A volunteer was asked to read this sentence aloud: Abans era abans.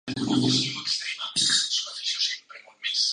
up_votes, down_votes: 0, 3